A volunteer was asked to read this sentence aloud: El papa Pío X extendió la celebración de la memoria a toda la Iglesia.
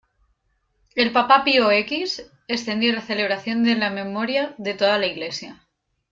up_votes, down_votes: 0, 2